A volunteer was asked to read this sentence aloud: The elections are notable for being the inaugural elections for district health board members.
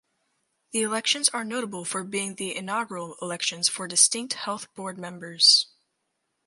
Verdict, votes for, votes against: rejected, 0, 4